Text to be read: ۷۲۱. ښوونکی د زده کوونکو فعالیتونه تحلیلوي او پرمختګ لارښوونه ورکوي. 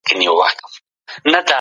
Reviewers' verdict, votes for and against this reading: rejected, 0, 2